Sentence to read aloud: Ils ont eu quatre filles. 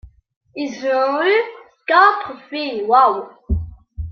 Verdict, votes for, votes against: rejected, 1, 2